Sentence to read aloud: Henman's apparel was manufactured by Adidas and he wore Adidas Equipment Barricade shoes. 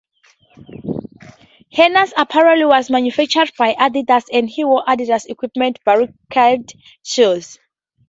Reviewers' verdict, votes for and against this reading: rejected, 0, 4